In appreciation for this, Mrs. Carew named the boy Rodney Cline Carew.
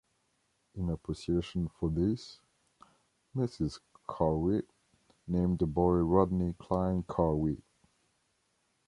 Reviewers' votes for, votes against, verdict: 2, 0, accepted